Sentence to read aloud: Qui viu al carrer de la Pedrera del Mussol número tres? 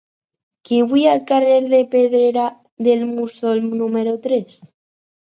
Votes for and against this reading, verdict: 2, 4, rejected